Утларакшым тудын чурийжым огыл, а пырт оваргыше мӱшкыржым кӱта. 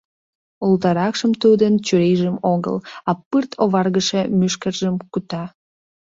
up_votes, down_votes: 0, 2